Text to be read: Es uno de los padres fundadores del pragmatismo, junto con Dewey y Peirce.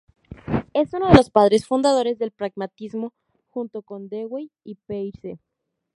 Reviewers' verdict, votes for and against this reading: rejected, 0, 2